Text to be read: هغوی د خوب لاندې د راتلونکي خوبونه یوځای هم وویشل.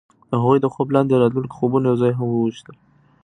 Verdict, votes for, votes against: rejected, 1, 2